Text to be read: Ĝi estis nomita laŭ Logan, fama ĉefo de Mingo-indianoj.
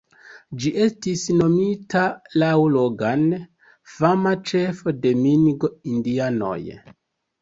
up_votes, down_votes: 2, 1